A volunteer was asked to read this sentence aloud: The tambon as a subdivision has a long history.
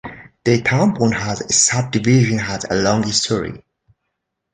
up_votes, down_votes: 2, 1